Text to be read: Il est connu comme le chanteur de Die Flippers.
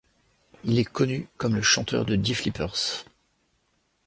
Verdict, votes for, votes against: accepted, 2, 0